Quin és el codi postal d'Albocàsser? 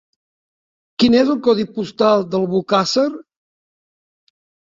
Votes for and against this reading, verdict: 2, 0, accepted